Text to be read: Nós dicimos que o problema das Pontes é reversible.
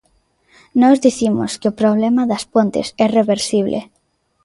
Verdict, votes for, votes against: accepted, 3, 0